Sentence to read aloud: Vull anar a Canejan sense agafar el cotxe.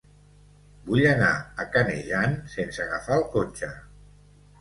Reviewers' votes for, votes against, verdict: 2, 0, accepted